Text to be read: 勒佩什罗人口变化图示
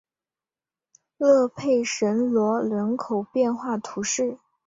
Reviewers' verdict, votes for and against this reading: accepted, 4, 0